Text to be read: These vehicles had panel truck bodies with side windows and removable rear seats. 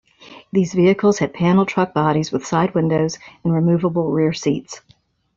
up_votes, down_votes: 2, 0